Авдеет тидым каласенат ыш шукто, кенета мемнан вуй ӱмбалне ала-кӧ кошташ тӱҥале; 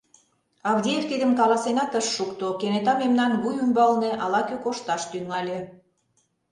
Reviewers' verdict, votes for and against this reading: rejected, 0, 2